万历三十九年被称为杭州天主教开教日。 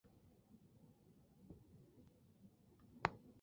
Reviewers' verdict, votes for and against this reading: rejected, 1, 2